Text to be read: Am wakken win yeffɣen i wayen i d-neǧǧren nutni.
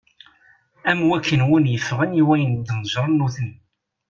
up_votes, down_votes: 2, 0